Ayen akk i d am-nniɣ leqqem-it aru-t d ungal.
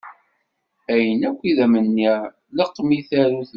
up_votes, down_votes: 0, 2